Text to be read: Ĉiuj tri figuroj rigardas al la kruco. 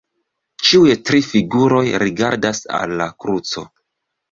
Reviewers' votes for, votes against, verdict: 2, 0, accepted